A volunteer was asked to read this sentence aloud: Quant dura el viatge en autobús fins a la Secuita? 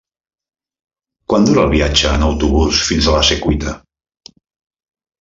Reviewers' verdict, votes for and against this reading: accepted, 3, 0